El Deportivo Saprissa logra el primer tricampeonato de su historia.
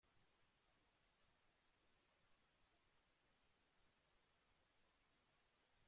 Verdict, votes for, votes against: rejected, 0, 2